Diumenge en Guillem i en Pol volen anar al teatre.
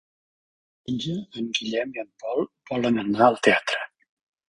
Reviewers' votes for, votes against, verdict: 0, 3, rejected